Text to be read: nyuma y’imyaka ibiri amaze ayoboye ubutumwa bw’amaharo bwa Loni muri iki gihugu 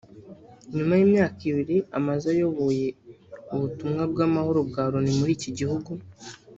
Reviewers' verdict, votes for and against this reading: rejected, 1, 2